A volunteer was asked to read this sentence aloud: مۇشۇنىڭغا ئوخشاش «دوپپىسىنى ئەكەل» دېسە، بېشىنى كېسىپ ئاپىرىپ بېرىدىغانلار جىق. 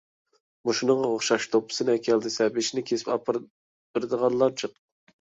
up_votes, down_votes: 0, 2